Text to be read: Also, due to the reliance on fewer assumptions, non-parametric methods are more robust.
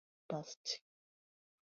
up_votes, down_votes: 0, 2